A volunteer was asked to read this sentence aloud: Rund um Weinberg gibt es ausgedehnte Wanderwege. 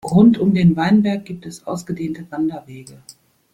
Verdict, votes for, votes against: rejected, 1, 2